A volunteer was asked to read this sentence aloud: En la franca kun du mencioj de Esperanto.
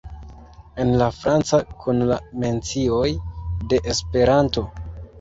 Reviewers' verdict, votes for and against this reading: rejected, 0, 2